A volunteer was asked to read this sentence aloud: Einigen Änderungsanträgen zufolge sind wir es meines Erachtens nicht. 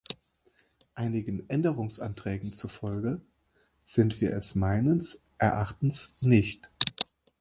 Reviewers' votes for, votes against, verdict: 1, 2, rejected